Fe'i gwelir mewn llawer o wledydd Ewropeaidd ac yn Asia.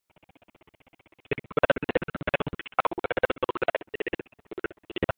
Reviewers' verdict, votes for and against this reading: rejected, 0, 2